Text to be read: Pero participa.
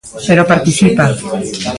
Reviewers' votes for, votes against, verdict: 1, 2, rejected